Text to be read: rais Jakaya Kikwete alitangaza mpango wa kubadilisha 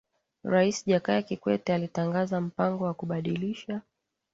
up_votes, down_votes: 17, 0